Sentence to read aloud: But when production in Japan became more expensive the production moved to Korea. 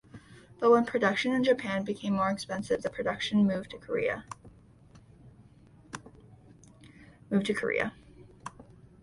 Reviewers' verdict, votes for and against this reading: rejected, 1, 2